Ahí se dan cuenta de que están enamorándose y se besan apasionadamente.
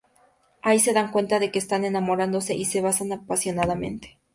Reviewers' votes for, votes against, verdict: 4, 0, accepted